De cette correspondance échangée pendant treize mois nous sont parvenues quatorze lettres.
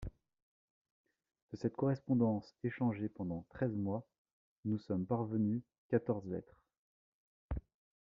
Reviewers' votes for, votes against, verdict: 1, 2, rejected